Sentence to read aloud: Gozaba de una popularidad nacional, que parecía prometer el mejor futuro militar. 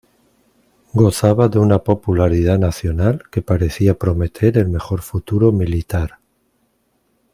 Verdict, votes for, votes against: accepted, 2, 0